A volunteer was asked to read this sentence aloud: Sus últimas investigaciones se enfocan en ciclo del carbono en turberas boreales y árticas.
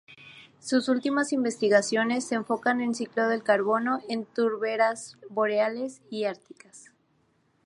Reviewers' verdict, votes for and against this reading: accepted, 2, 0